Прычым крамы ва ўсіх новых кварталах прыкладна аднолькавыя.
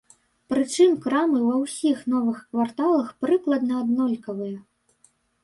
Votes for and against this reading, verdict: 2, 0, accepted